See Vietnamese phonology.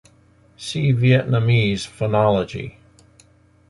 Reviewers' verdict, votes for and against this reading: accepted, 2, 0